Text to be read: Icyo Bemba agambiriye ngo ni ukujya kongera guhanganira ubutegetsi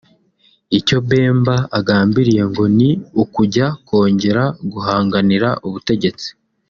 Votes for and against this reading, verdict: 2, 0, accepted